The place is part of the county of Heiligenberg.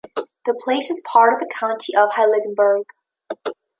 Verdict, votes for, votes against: rejected, 0, 2